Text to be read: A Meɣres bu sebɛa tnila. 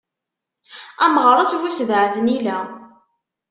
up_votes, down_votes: 2, 0